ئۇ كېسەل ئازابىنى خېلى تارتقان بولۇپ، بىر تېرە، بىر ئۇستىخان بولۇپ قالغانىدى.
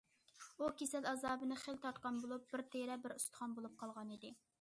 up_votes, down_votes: 2, 0